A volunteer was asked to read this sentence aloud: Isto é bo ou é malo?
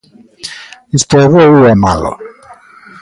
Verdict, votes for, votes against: rejected, 0, 2